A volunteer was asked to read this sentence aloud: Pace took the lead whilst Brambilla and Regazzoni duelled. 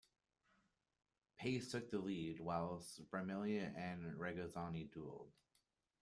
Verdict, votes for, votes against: rejected, 0, 2